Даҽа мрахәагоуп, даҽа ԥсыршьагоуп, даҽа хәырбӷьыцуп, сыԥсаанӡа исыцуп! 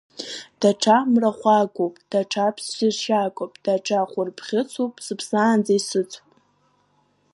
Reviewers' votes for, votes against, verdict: 3, 1, accepted